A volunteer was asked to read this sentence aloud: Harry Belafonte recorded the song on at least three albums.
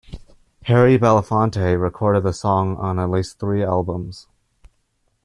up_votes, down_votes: 2, 1